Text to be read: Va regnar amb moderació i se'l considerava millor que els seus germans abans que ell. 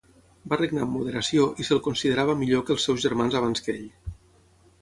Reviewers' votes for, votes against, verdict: 6, 0, accepted